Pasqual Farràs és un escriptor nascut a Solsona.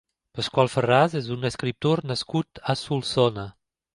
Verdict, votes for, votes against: accepted, 2, 0